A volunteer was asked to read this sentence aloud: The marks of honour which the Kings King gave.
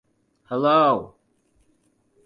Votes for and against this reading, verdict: 0, 3, rejected